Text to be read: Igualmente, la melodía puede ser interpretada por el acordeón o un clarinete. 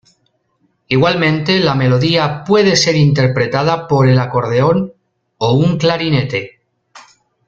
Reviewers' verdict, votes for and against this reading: accepted, 2, 0